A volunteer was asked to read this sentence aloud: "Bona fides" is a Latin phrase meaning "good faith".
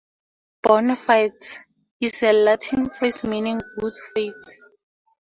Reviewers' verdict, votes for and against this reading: rejected, 2, 4